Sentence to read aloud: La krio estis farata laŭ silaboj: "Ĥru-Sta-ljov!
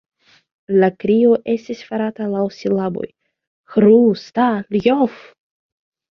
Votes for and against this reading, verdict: 2, 1, accepted